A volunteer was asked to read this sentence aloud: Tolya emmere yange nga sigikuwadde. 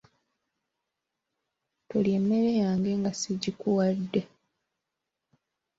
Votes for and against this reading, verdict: 3, 0, accepted